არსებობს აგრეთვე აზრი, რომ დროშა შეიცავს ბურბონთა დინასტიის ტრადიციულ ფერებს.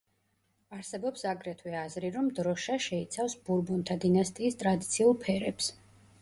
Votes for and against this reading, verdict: 2, 0, accepted